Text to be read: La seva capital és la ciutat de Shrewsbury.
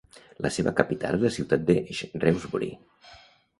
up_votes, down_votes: 0, 2